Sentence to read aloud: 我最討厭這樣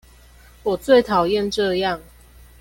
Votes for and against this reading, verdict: 2, 1, accepted